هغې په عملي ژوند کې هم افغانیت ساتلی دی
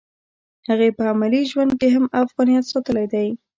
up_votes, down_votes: 1, 2